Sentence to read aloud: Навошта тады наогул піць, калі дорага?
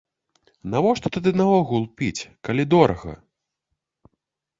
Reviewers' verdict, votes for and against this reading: accepted, 2, 0